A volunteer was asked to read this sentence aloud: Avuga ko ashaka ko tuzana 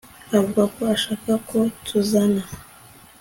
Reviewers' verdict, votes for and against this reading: accepted, 2, 0